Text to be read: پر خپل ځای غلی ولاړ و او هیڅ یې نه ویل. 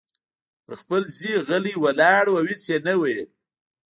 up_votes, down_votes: 2, 0